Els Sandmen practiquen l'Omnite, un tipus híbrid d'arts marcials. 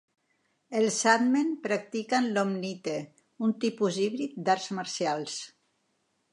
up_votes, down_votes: 2, 1